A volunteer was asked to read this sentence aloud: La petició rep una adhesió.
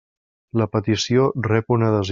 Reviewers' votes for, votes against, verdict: 0, 2, rejected